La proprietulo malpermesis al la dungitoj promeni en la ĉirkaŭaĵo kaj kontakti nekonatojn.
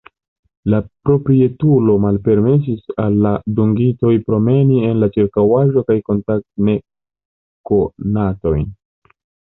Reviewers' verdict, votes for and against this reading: rejected, 1, 2